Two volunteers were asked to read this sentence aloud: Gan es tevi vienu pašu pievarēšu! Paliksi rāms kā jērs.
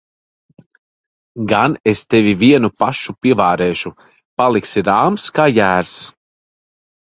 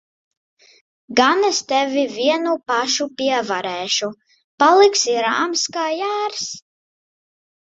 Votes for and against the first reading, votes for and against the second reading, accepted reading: 1, 2, 4, 0, second